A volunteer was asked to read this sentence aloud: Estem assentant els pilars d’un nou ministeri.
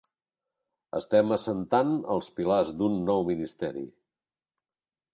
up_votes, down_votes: 3, 0